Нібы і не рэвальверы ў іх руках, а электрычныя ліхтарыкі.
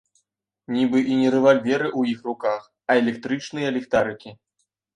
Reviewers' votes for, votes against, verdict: 2, 0, accepted